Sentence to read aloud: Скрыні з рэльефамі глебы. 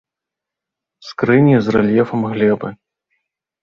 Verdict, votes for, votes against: rejected, 0, 2